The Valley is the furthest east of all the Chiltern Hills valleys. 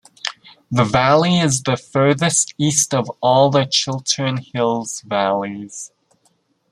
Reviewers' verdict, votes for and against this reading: accepted, 2, 0